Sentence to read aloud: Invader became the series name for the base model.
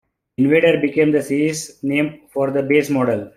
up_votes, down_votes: 3, 0